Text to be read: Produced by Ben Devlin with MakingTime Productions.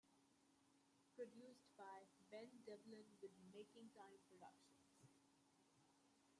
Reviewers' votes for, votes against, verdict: 0, 2, rejected